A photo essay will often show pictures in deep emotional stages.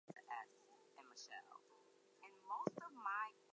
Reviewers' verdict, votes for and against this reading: rejected, 0, 4